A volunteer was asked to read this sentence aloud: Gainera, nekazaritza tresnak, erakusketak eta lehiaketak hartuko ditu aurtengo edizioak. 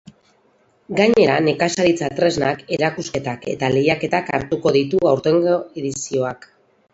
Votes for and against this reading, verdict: 0, 4, rejected